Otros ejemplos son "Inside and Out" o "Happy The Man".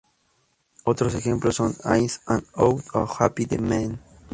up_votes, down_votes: 0, 2